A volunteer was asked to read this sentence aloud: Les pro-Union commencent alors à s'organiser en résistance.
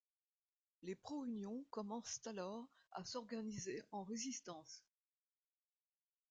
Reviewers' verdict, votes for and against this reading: rejected, 1, 2